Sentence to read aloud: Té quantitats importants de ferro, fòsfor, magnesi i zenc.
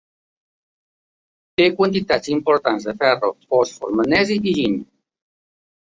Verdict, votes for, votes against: accepted, 2, 1